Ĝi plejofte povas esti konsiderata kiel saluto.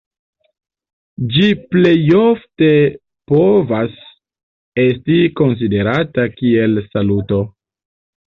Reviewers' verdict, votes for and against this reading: rejected, 0, 2